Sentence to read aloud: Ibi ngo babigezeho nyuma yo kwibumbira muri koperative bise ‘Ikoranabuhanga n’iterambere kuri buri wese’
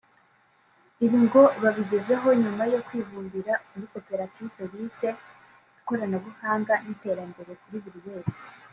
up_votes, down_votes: 3, 0